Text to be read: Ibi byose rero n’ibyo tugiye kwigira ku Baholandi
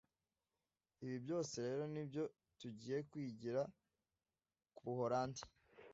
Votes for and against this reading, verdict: 1, 2, rejected